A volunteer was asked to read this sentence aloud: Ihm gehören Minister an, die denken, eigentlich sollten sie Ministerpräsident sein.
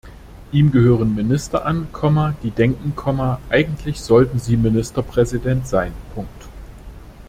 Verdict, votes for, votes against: accepted, 2, 1